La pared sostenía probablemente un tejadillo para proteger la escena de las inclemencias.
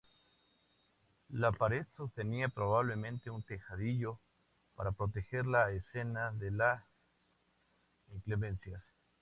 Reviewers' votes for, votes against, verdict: 2, 0, accepted